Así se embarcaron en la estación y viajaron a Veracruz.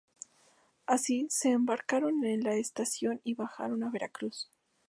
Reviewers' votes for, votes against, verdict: 2, 2, rejected